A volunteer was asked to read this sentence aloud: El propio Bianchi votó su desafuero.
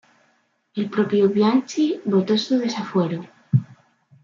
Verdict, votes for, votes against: accepted, 2, 1